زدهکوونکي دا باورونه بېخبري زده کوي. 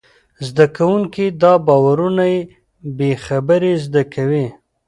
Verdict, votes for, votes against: rejected, 0, 2